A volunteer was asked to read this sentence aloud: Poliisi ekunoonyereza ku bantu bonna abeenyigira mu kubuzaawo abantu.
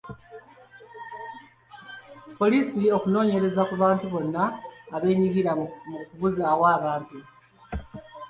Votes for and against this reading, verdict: 1, 2, rejected